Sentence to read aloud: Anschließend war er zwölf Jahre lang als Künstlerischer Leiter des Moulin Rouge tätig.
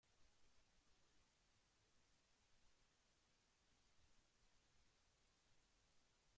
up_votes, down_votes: 0, 2